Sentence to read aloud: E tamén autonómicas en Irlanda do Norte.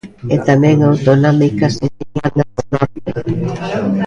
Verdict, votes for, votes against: rejected, 0, 2